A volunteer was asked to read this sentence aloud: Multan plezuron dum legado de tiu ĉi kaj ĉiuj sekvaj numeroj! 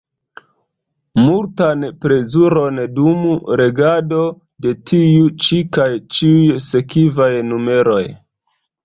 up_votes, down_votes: 0, 2